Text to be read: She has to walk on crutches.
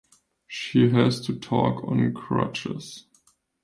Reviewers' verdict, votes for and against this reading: rejected, 0, 2